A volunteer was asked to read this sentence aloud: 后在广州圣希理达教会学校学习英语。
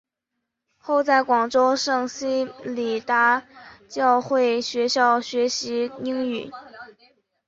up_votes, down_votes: 2, 0